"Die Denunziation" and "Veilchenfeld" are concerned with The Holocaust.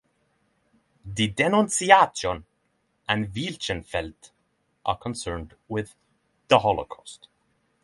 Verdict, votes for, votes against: rejected, 0, 3